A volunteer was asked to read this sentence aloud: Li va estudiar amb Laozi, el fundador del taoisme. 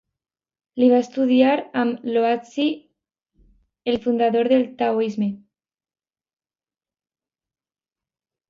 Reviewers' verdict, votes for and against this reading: rejected, 0, 2